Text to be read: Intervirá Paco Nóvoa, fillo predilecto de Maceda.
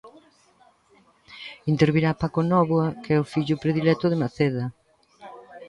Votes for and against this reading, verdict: 0, 2, rejected